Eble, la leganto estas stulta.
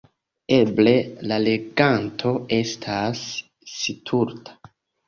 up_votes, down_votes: 1, 3